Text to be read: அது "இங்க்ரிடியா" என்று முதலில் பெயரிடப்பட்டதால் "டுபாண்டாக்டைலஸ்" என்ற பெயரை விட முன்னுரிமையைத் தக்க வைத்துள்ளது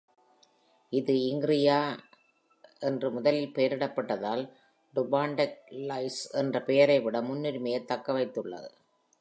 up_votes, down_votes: 2, 3